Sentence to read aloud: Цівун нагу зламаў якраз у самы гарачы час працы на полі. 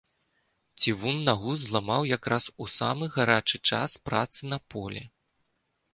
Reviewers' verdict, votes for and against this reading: accepted, 2, 0